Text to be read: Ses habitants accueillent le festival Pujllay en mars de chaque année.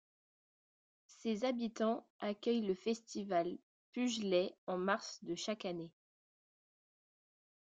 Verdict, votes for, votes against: accepted, 3, 0